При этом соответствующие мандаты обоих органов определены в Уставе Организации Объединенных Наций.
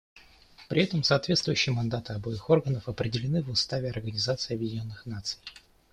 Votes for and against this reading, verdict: 2, 0, accepted